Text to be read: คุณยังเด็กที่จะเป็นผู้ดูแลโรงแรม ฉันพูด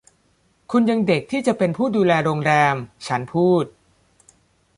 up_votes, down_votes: 2, 0